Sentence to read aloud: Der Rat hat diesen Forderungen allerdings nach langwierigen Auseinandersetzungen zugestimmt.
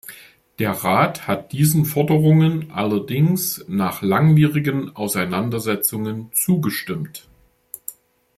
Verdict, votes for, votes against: accepted, 2, 0